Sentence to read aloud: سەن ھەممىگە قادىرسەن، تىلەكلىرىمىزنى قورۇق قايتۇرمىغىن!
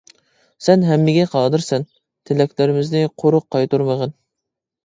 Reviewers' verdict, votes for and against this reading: accepted, 2, 0